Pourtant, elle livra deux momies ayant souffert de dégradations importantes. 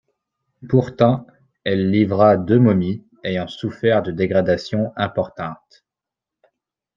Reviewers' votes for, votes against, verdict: 2, 0, accepted